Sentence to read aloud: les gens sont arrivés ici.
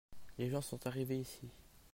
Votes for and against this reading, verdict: 2, 0, accepted